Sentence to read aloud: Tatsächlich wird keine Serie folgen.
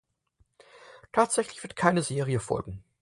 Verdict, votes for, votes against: accepted, 4, 0